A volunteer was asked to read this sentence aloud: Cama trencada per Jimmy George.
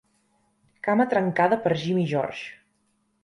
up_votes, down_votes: 3, 0